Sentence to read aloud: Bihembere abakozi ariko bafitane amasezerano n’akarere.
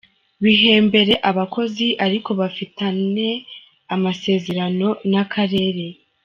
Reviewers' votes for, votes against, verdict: 3, 0, accepted